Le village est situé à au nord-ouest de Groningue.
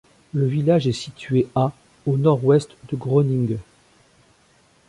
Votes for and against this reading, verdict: 0, 2, rejected